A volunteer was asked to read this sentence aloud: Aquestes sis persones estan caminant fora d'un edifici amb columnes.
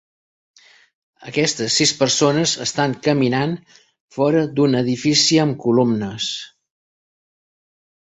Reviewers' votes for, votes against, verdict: 3, 0, accepted